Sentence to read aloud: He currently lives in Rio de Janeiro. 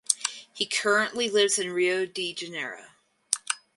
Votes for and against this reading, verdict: 4, 0, accepted